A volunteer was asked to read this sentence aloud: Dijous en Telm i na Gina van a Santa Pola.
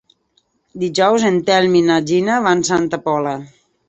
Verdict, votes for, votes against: rejected, 0, 3